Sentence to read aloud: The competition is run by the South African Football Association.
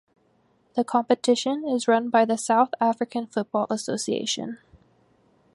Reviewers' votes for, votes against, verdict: 4, 0, accepted